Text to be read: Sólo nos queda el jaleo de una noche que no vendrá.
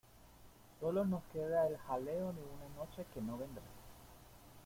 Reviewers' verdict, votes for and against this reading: rejected, 1, 2